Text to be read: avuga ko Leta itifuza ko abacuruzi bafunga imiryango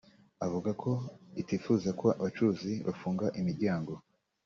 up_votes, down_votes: 0, 2